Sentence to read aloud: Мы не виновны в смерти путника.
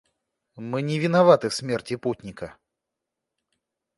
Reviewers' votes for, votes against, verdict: 0, 2, rejected